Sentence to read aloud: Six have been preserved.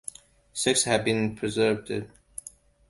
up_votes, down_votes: 2, 1